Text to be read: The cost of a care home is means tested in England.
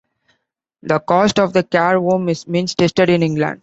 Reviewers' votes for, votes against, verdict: 1, 2, rejected